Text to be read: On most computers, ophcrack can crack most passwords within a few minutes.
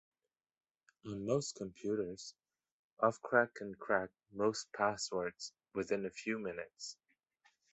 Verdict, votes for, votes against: accepted, 2, 0